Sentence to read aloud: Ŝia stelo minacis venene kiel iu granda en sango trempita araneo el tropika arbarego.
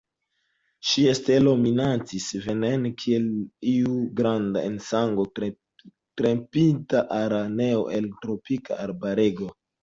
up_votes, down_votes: 2, 0